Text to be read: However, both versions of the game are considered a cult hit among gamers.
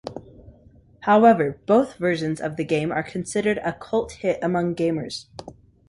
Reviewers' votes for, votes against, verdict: 2, 0, accepted